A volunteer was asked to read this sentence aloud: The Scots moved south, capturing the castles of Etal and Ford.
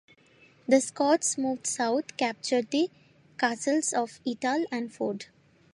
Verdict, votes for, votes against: accepted, 2, 0